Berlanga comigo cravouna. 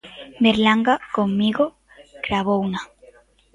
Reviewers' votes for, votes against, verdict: 2, 3, rejected